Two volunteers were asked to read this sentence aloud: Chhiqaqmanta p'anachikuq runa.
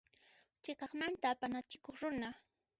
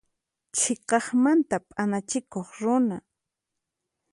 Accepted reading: second